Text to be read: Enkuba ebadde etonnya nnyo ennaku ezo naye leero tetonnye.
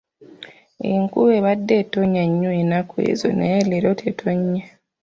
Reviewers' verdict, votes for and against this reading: accepted, 2, 1